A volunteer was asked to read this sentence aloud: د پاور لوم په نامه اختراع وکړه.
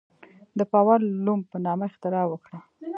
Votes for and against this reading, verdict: 1, 2, rejected